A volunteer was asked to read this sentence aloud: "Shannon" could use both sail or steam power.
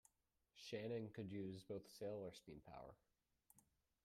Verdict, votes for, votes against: rejected, 1, 2